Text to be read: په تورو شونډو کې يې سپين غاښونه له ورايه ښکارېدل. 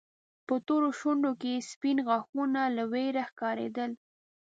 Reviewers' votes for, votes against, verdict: 0, 2, rejected